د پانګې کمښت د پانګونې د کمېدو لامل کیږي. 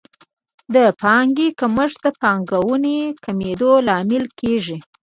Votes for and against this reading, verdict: 2, 0, accepted